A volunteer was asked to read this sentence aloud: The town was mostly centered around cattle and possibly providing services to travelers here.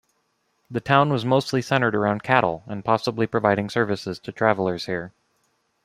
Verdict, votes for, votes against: accepted, 2, 1